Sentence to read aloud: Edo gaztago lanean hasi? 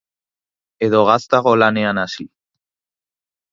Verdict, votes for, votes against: accepted, 2, 0